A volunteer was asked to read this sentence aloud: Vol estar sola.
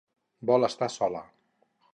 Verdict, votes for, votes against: accepted, 6, 0